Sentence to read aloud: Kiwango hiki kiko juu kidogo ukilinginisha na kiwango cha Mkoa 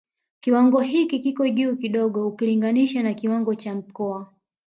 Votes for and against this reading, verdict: 1, 2, rejected